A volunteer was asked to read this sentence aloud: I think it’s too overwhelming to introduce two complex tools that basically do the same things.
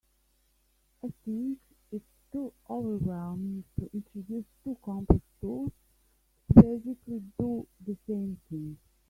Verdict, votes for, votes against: rejected, 1, 2